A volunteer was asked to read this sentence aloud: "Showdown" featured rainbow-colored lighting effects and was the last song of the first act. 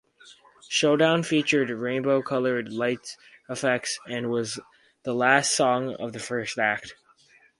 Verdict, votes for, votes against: rejected, 2, 6